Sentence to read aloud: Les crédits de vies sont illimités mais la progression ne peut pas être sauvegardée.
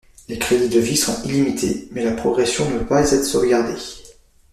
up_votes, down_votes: 0, 2